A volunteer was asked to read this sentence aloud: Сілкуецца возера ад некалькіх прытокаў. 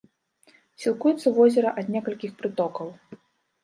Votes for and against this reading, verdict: 2, 0, accepted